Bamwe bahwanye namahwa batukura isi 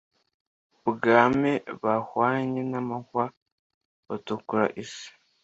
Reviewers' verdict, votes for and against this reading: rejected, 1, 2